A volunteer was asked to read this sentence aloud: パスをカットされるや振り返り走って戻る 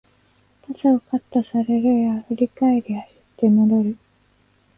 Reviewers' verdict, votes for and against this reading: rejected, 1, 2